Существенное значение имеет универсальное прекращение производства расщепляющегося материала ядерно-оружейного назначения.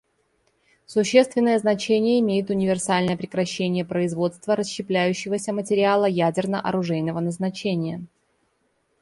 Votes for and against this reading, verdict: 2, 0, accepted